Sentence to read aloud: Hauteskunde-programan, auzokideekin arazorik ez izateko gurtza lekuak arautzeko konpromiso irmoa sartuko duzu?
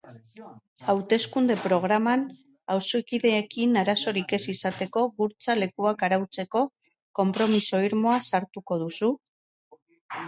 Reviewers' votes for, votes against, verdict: 2, 2, rejected